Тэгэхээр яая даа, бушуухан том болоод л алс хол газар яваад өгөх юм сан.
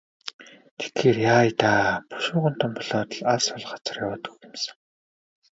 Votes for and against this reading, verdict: 4, 0, accepted